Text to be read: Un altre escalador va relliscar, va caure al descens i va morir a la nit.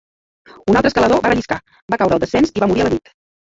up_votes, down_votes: 0, 2